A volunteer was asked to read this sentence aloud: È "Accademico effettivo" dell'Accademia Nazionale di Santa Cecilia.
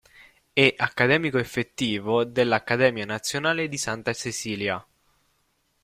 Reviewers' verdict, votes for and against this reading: accepted, 2, 0